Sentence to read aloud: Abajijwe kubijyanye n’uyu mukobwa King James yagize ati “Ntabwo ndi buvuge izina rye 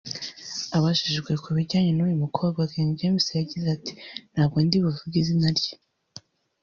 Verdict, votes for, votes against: rejected, 1, 2